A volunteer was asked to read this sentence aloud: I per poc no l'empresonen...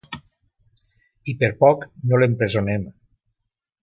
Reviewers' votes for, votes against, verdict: 0, 2, rejected